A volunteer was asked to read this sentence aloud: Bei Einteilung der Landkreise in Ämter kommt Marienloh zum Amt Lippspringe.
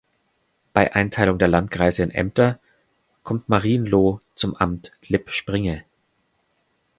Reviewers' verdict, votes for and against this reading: accepted, 2, 0